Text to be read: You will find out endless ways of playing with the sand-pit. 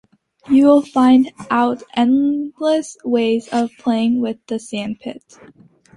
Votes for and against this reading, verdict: 2, 0, accepted